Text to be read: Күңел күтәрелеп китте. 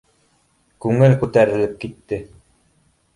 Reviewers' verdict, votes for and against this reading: accepted, 2, 0